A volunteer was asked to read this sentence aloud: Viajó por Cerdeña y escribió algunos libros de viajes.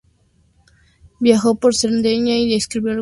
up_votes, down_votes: 0, 2